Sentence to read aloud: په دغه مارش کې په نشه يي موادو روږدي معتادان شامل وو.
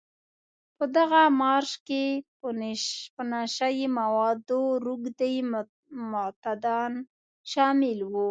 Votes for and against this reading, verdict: 0, 2, rejected